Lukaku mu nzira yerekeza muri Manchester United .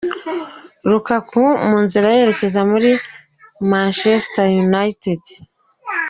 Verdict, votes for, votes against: rejected, 0, 2